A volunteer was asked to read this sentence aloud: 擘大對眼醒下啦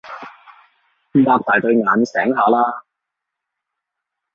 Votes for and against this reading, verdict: 3, 0, accepted